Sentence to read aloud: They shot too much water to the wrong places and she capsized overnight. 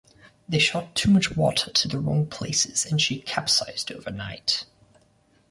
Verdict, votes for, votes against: accepted, 2, 0